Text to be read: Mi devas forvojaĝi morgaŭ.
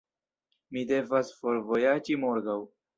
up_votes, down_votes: 0, 2